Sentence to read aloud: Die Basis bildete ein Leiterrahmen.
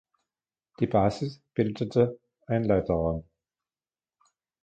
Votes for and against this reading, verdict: 2, 0, accepted